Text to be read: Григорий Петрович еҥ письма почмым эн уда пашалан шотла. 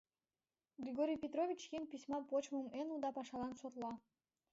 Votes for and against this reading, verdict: 2, 0, accepted